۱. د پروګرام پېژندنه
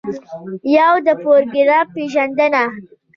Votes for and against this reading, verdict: 0, 2, rejected